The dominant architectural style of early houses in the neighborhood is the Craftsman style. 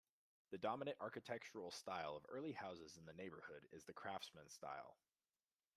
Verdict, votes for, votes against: accepted, 2, 0